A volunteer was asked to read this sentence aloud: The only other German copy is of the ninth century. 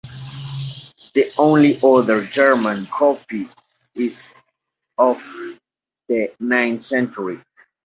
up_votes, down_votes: 2, 0